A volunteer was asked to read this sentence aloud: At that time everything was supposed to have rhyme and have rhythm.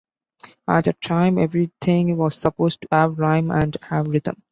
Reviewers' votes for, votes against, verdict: 1, 2, rejected